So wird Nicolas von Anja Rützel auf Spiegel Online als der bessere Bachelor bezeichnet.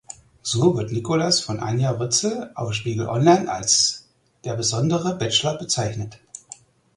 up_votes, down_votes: 0, 4